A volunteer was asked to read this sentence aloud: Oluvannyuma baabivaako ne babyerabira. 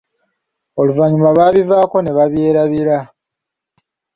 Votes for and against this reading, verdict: 2, 0, accepted